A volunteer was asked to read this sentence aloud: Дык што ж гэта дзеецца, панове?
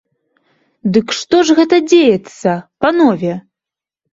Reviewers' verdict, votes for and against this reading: accepted, 2, 0